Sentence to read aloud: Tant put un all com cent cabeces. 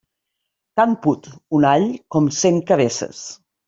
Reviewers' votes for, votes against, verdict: 2, 0, accepted